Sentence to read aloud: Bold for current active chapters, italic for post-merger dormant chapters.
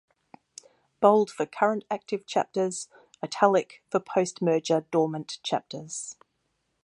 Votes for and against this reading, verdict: 2, 0, accepted